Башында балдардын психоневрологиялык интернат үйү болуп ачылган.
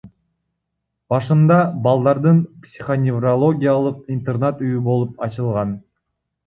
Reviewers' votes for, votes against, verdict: 2, 1, accepted